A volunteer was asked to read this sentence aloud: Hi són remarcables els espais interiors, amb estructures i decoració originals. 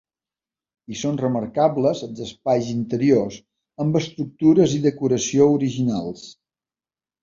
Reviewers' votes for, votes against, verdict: 2, 0, accepted